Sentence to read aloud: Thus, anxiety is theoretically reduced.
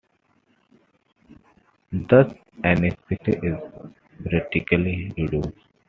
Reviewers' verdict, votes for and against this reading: rejected, 1, 2